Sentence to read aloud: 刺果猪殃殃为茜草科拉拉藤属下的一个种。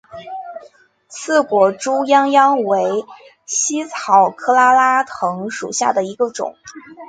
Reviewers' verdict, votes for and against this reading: accepted, 8, 0